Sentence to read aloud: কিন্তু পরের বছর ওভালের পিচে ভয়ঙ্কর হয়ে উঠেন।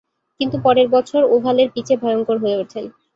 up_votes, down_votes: 4, 0